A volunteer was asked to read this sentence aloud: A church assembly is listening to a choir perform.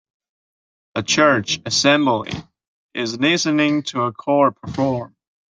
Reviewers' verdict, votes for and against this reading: rejected, 0, 2